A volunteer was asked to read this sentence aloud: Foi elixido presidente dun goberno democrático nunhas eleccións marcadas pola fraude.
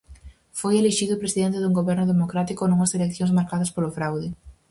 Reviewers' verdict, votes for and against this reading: rejected, 0, 4